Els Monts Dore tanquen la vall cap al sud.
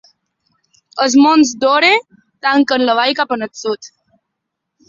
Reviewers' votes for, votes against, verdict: 3, 0, accepted